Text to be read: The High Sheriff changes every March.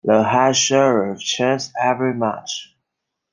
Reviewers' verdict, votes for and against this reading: accepted, 2, 1